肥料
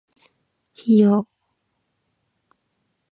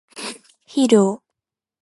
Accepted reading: second